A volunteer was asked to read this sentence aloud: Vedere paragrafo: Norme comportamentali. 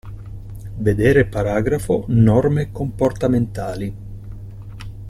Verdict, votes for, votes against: accepted, 2, 0